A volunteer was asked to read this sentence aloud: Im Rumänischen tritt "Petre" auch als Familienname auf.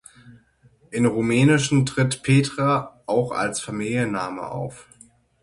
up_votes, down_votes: 6, 0